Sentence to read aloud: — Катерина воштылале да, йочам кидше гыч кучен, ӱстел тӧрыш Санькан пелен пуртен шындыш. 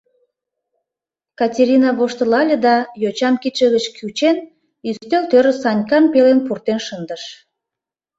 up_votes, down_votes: 1, 2